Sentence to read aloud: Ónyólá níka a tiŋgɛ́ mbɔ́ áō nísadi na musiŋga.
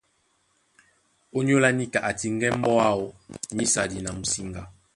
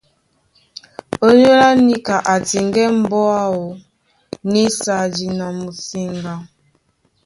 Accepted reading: first